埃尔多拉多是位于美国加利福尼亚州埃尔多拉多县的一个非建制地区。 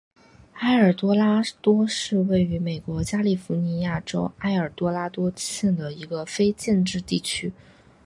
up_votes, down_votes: 2, 1